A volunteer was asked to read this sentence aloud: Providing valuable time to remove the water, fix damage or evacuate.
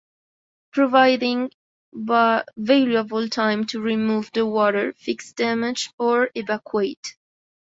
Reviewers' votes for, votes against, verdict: 0, 2, rejected